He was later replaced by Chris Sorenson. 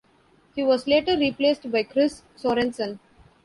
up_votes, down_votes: 2, 0